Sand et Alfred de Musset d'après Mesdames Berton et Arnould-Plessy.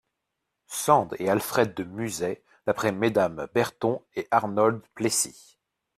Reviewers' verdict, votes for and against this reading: rejected, 0, 3